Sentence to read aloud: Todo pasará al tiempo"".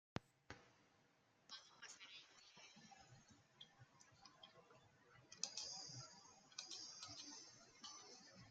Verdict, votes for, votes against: rejected, 0, 2